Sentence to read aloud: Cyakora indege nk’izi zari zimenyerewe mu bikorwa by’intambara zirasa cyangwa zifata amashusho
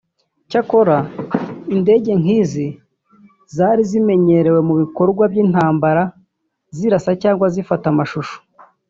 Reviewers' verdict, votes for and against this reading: accepted, 2, 0